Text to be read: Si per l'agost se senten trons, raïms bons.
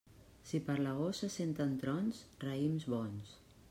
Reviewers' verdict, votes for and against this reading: accepted, 3, 0